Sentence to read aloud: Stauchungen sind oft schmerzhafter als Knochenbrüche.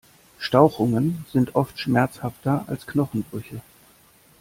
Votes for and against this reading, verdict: 4, 0, accepted